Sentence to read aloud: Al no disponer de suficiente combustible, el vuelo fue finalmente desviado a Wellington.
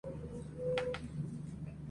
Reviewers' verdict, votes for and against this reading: rejected, 0, 2